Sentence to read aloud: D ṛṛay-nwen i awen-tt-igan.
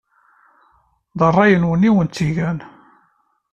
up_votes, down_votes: 2, 0